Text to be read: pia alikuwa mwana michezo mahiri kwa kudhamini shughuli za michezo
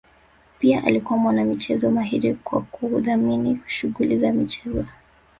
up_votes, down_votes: 2, 0